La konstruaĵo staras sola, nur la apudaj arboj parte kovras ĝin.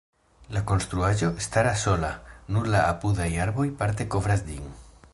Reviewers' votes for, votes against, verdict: 3, 0, accepted